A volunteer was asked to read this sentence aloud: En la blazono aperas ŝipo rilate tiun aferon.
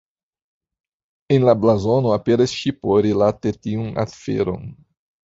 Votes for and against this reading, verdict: 0, 2, rejected